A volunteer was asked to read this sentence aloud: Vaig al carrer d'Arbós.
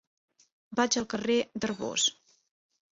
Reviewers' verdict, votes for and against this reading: accepted, 2, 0